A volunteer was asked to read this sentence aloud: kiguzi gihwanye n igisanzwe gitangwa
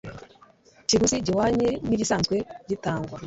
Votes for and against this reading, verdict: 2, 1, accepted